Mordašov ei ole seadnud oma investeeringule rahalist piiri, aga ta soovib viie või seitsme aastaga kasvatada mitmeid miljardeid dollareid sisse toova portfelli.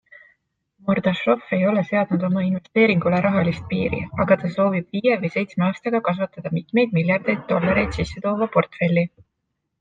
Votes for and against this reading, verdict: 2, 0, accepted